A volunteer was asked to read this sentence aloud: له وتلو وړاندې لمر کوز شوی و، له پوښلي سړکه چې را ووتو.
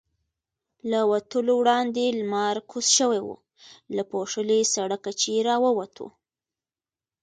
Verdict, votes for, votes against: accepted, 2, 0